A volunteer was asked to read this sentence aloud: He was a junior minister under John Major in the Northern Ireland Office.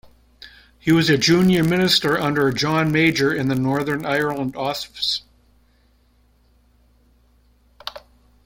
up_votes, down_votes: 1, 2